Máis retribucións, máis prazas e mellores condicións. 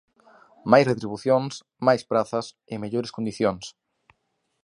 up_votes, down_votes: 2, 0